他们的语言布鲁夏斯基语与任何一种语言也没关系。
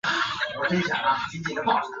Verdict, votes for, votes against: accepted, 2, 0